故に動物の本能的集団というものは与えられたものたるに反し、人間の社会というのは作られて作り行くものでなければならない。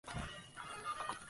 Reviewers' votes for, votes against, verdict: 1, 3, rejected